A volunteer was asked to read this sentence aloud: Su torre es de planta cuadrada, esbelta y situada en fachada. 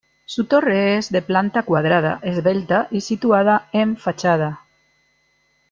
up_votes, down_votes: 2, 0